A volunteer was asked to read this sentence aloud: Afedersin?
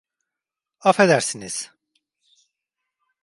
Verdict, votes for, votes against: rejected, 0, 2